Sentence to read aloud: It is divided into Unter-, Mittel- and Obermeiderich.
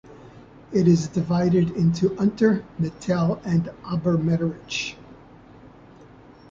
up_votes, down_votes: 2, 0